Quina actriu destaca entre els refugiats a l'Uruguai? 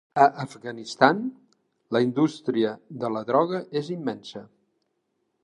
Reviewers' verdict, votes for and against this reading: rejected, 1, 4